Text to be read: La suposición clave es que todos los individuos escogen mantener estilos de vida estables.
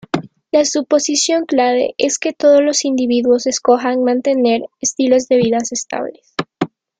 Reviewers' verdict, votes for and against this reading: accepted, 2, 0